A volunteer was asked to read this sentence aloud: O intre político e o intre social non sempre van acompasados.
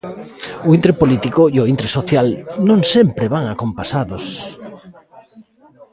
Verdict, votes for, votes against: rejected, 0, 2